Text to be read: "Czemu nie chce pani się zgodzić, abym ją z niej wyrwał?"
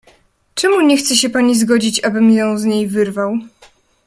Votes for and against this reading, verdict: 1, 2, rejected